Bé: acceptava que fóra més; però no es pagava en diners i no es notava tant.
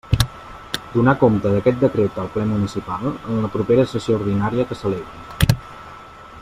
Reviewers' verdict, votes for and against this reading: rejected, 0, 2